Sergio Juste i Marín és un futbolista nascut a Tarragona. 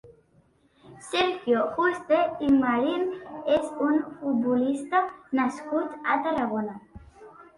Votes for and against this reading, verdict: 2, 0, accepted